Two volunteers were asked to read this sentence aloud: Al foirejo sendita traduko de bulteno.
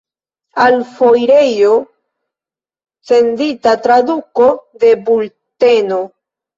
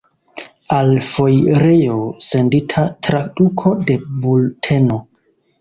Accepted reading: first